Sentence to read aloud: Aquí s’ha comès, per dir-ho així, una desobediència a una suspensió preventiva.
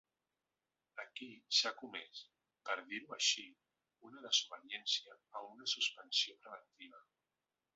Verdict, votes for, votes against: rejected, 1, 2